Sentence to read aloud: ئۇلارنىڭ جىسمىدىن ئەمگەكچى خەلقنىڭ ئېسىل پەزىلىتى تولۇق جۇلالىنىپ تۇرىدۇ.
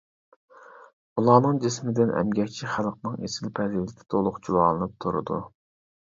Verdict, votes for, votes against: rejected, 0, 2